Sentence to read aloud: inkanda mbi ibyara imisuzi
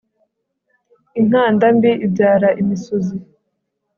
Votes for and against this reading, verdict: 3, 0, accepted